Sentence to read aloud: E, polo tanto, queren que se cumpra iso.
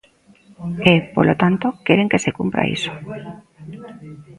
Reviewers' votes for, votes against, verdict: 2, 0, accepted